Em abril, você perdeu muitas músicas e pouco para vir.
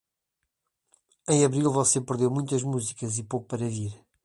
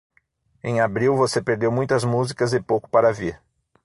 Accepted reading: first